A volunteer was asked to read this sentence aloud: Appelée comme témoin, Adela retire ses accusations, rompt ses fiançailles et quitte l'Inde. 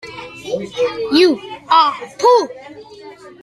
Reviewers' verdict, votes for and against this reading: rejected, 0, 2